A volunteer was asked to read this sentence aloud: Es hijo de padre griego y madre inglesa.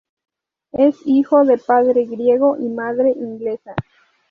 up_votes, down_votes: 4, 0